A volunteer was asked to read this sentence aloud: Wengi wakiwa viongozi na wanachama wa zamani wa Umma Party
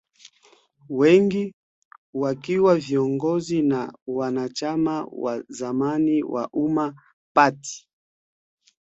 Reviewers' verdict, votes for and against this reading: rejected, 1, 2